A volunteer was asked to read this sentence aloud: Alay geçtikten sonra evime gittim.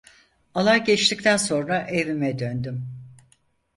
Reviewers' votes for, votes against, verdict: 0, 4, rejected